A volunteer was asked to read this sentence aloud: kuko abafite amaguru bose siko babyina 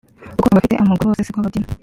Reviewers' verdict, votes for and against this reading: rejected, 1, 2